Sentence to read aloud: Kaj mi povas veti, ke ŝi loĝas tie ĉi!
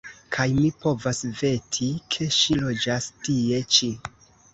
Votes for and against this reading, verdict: 1, 2, rejected